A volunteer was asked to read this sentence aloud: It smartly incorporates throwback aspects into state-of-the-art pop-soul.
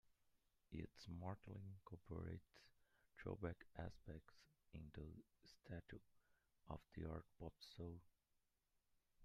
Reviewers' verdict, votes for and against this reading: rejected, 0, 2